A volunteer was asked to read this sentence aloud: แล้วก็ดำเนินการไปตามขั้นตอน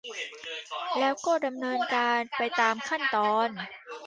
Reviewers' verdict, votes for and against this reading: rejected, 0, 2